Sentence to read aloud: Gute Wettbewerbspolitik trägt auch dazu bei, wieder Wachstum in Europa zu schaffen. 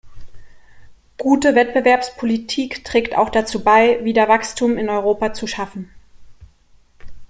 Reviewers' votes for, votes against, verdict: 2, 0, accepted